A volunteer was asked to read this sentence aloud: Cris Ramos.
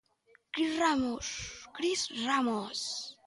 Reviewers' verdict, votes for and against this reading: rejected, 0, 2